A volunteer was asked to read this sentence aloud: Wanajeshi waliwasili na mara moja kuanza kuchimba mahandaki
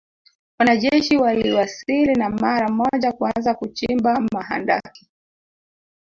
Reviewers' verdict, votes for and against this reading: rejected, 1, 2